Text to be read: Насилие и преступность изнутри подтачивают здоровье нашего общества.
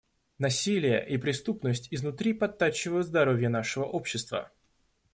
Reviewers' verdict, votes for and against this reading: accepted, 2, 0